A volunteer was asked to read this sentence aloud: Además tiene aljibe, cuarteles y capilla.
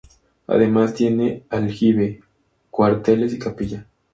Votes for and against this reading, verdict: 2, 0, accepted